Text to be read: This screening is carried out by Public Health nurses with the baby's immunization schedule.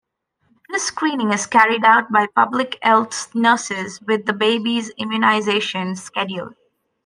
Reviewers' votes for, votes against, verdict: 1, 2, rejected